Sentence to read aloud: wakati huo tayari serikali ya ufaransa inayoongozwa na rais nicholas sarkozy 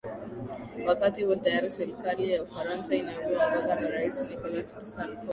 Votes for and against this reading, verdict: 1, 2, rejected